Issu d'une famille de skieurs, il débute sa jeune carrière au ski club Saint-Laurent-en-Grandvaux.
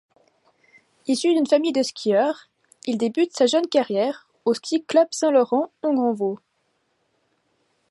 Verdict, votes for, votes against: accepted, 2, 0